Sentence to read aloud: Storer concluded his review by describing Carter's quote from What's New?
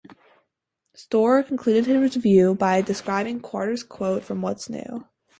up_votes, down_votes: 2, 4